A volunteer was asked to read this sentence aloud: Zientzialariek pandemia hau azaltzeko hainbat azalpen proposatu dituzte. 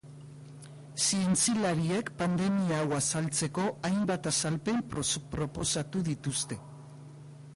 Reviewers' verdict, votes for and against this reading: rejected, 0, 2